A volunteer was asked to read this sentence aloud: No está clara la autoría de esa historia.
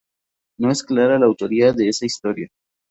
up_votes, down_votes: 0, 2